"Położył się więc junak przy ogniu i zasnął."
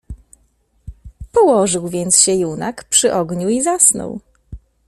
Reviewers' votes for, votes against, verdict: 0, 2, rejected